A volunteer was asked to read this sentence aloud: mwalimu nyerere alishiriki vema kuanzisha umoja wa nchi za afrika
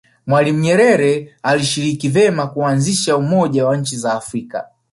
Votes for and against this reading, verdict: 2, 0, accepted